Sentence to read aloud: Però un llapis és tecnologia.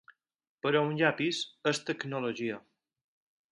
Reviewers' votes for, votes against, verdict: 6, 0, accepted